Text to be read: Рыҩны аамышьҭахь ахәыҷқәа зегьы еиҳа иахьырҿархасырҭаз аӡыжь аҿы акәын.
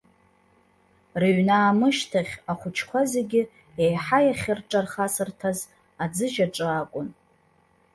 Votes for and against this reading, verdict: 1, 2, rejected